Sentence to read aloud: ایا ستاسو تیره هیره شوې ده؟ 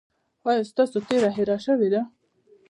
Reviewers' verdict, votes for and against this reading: accepted, 2, 0